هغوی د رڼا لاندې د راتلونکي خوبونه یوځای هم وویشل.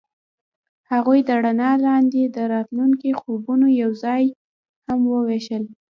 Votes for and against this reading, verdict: 1, 2, rejected